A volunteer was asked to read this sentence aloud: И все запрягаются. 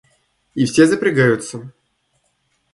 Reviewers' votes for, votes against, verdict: 2, 0, accepted